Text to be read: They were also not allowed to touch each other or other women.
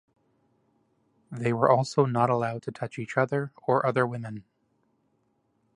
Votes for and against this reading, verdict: 2, 0, accepted